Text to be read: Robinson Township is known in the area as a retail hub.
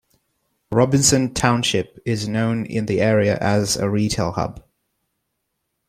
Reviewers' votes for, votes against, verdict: 2, 0, accepted